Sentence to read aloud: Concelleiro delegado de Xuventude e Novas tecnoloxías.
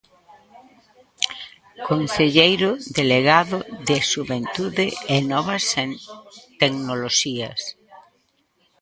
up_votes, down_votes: 0, 2